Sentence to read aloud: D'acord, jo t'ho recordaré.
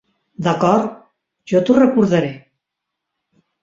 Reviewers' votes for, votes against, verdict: 2, 0, accepted